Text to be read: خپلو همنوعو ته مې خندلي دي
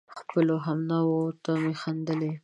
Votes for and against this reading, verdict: 2, 0, accepted